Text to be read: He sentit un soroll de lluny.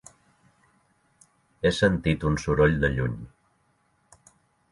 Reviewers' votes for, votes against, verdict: 3, 0, accepted